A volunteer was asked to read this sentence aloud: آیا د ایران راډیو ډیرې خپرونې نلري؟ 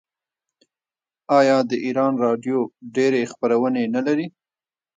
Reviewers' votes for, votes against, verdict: 0, 2, rejected